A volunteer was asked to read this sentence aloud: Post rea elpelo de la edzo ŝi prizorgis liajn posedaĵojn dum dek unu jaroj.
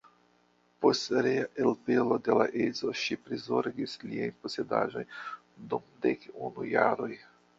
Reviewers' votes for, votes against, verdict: 1, 2, rejected